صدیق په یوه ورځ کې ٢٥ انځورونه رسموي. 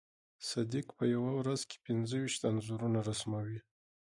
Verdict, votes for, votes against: rejected, 0, 2